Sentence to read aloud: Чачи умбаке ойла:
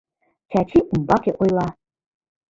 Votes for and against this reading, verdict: 1, 2, rejected